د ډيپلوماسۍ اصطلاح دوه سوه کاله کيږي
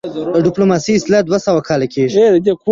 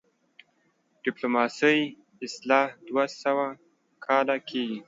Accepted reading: second